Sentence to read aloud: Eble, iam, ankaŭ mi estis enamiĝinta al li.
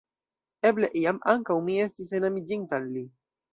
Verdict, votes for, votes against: accepted, 2, 0